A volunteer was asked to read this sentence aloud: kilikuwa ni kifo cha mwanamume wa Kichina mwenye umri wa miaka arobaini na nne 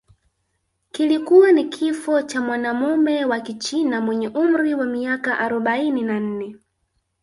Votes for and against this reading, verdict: 1, 2, rejected